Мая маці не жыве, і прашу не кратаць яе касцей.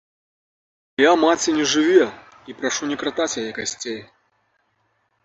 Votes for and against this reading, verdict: 1, 2, rejected